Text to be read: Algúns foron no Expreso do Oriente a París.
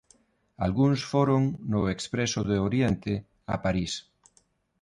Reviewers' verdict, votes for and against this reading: accepted, 2, 0